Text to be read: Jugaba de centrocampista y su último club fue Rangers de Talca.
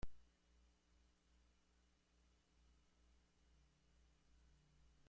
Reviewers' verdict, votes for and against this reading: rejected, 0, 2